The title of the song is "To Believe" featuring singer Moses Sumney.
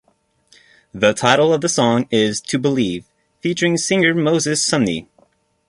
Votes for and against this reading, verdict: 2, 1, accepted